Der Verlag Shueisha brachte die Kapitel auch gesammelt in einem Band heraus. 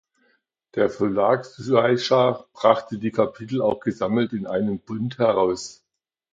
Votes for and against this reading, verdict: 0, 2, rejected